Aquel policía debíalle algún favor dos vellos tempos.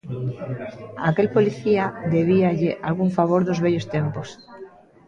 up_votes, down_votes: 1, 2